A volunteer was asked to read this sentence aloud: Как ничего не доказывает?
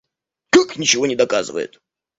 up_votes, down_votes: 2, 1